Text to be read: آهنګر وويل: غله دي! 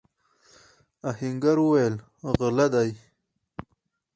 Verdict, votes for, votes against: rejected, 2, 2